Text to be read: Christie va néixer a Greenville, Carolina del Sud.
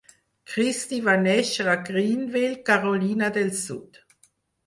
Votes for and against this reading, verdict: 0, 4, rejected